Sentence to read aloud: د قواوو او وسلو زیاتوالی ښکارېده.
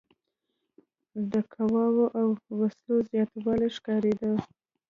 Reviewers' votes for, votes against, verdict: 2, 1, accepted